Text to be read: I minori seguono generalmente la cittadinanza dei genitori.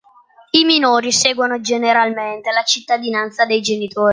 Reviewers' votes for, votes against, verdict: 1, 2, rejected